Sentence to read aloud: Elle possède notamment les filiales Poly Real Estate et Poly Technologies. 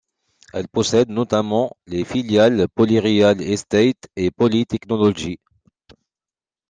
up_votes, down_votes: 2, 0